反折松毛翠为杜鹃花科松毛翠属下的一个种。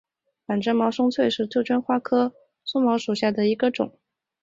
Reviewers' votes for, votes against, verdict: 1, 2, rejected